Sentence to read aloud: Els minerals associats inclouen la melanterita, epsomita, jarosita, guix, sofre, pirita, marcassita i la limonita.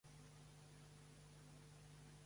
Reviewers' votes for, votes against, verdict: 0, 2, rejected